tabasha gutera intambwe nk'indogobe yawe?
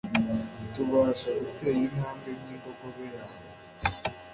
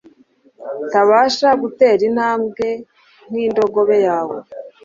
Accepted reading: second